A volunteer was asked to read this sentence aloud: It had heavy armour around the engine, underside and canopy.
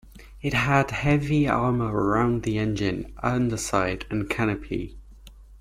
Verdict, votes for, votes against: accepted, 2, 0